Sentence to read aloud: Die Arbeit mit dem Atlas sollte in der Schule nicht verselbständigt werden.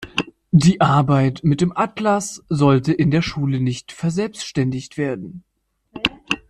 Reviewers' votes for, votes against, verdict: 2, 0, accepted